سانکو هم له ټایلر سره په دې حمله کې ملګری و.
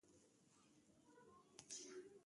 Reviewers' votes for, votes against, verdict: 1, 2, rejected